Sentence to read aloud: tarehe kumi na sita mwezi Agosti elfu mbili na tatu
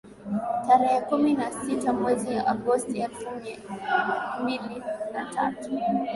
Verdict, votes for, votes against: accepted, 2, 0